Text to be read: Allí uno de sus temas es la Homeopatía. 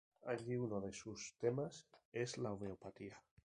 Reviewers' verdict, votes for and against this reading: rejected, 2, 2